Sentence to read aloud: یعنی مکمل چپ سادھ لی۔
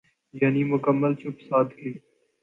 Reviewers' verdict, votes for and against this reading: accepted, 2, 0